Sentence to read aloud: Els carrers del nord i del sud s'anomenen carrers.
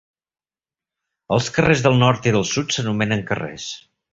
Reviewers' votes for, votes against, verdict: 3, 0, accepted